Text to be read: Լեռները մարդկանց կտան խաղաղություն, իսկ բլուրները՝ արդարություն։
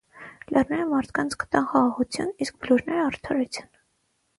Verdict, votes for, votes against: rejected, 3, 3